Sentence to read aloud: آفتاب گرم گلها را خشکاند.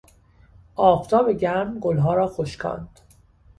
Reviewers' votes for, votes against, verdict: 2, 0, accepted